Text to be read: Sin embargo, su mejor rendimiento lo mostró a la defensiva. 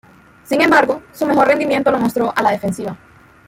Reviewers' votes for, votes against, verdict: 2, 0, accepted